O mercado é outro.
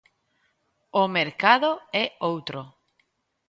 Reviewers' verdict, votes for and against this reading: accepted, 2, 0